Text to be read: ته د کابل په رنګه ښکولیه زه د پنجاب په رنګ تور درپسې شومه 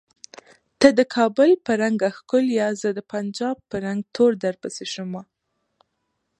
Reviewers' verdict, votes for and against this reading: accepted, 2, 1